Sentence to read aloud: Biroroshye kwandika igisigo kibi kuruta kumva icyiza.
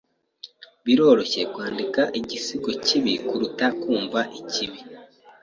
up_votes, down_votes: 1, 2